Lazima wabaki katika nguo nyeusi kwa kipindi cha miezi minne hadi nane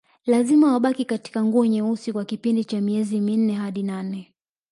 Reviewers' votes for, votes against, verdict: 1, 2, rejected